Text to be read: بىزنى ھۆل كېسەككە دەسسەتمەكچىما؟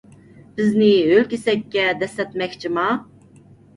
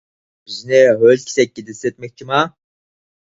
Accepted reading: first